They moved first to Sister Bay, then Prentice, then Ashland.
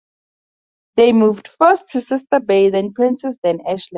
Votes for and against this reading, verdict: 0, 2, rejected